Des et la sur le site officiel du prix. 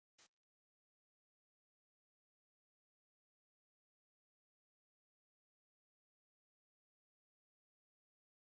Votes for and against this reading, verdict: 1, 2, rejected